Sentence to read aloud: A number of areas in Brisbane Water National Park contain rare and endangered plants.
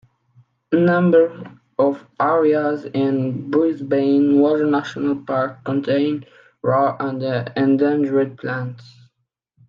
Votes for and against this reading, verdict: 0, 2, rejected